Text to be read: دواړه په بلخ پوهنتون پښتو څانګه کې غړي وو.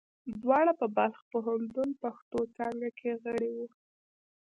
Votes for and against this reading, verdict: 1, 2, rejected